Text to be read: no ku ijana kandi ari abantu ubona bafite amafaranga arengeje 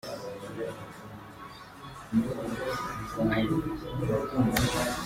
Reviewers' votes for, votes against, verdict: 0, 2, rejected